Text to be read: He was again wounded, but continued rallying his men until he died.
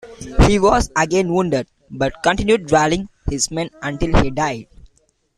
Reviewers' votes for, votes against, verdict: 2, 1, accepted